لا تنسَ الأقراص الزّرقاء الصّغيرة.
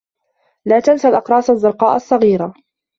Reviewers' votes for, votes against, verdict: 2, 0, accepted